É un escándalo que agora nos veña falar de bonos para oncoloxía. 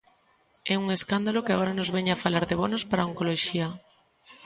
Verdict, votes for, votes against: accepted, 2, 0